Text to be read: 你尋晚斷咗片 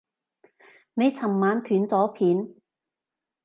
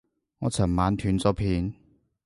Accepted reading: first